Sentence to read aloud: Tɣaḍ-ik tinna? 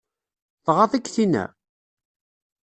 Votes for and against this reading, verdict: 2, 0, accepted